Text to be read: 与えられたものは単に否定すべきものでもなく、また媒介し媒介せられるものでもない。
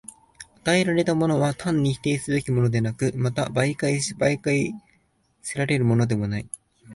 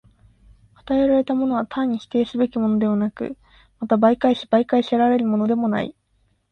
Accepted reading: second